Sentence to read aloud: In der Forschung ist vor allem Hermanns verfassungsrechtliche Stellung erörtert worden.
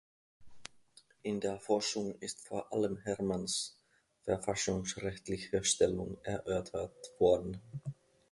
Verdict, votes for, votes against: rejected, 2, 3